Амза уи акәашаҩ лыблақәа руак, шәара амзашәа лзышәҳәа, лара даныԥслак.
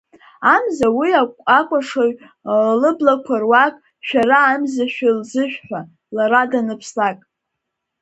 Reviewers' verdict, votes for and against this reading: rejected, 1, 4